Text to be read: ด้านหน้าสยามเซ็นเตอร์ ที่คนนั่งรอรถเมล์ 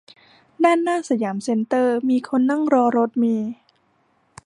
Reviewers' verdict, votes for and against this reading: rejected, 0, 2